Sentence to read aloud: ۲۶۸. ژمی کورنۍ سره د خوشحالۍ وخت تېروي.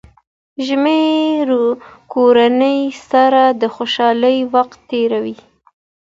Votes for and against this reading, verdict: 0, 2, rejected